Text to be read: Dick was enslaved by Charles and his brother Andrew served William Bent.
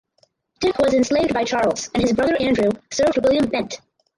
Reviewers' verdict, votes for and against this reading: rejected, 0, 4